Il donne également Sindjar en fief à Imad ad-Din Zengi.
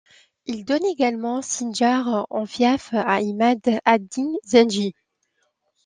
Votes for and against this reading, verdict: 2, 0, accepted